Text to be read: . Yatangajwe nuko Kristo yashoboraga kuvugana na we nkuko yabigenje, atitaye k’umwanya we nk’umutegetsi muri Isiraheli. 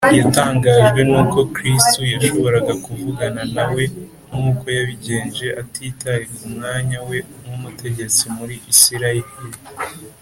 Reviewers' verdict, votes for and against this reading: accepted, 3, 0